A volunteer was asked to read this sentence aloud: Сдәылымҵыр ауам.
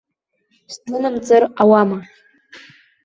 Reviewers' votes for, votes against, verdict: 0, 2, rejected